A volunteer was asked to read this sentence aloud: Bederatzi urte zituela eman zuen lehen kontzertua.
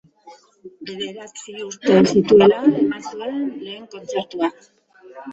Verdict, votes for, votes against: rejected, 0, 2